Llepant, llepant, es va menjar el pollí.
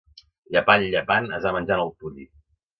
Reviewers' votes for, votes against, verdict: 2, 1, accepted